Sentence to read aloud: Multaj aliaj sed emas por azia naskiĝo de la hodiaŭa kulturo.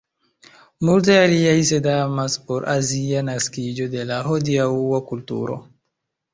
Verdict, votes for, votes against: accepted, 2, 1